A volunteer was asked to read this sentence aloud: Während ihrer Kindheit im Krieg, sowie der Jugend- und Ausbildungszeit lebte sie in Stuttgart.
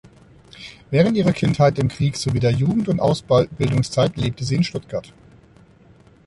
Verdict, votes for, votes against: rejected, 0, 2